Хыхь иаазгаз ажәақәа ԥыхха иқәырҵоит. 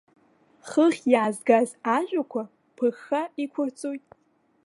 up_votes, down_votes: 2, 1